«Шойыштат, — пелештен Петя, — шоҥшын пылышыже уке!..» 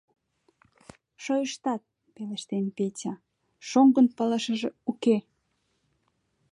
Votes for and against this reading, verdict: 0, 2, rejected